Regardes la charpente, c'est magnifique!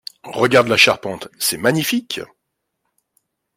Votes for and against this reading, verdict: 2, 0, accepted